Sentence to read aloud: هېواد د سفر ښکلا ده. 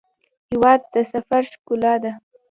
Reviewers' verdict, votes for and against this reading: rejected, 0, 2